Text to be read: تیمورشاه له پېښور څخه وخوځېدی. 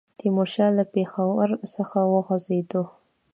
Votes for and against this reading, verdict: 1, 2, rejected